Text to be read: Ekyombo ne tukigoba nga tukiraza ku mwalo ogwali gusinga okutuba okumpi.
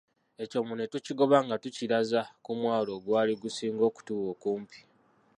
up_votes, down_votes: 0, 2